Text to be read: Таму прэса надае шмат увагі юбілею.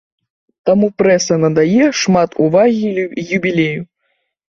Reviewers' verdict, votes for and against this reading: rejected, 1, 2